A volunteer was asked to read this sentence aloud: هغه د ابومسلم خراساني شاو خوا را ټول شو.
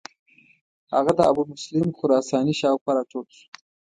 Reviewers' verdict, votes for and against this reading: rejected, 1, 2